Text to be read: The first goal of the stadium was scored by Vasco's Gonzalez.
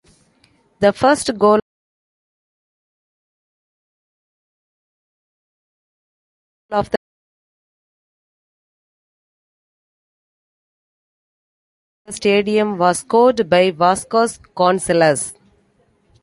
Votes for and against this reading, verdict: 0, 2, rejected